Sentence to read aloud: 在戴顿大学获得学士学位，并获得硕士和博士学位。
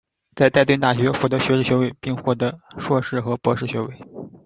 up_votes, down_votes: 3, 1